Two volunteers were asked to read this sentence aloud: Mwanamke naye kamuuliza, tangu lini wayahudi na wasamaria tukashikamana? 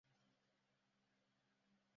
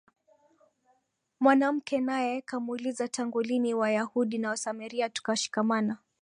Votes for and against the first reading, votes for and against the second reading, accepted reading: 0, 2, 2, 1, second